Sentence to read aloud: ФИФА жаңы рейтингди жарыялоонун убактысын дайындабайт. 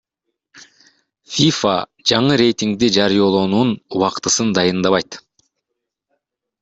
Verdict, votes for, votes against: rejected, 1, 2